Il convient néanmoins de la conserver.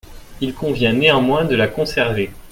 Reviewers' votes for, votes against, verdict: 2, 0, accepted